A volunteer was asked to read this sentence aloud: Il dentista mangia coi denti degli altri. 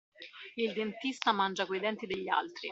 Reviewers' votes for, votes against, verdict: 2, 0, accepted